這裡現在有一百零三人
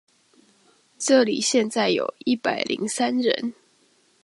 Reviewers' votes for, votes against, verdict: 2, 0, accepted